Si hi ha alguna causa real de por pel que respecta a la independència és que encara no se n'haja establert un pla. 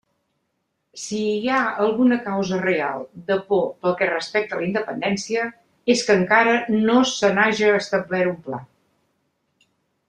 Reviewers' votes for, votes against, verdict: 3, 0, accepted